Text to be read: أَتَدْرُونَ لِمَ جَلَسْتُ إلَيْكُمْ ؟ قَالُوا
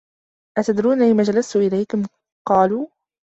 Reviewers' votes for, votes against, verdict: 2, 0, accepted